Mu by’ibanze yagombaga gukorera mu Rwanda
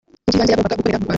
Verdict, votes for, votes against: rejected, 0, 2